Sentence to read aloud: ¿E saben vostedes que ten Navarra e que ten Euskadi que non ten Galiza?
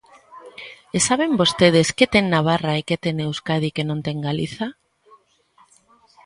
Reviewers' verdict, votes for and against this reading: accepted, 2, 0